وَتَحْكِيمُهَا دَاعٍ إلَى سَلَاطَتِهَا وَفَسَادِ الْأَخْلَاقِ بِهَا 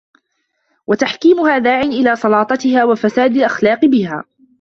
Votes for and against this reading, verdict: 2, 0, accepted